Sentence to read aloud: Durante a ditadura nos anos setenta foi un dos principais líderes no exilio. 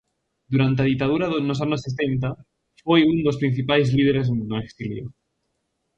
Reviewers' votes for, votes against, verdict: 0, 2, rejected